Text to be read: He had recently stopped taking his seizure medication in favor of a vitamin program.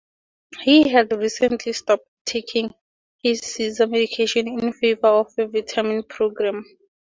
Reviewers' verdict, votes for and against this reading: accepted, 4, 0